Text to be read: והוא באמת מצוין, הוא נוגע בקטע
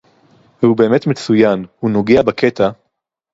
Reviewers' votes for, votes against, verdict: 4, 0, accepted